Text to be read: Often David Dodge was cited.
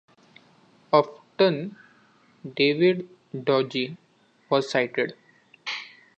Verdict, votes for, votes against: rejected, 0, 2